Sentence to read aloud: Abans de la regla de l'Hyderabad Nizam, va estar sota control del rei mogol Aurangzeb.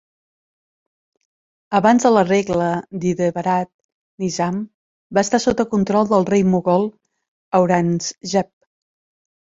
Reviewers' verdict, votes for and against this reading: rejected, 1, 2